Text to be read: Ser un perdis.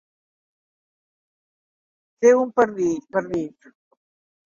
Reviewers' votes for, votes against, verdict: 0, 2, rejected